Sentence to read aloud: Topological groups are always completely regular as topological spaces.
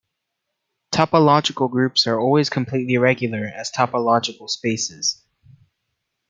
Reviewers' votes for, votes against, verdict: 2, 0, accepted